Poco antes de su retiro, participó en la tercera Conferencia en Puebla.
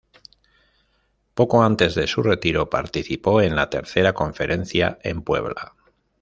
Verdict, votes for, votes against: accepted, 2, 0